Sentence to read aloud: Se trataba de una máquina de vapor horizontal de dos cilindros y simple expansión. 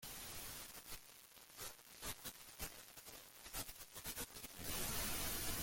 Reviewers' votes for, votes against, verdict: 0, 2, rejected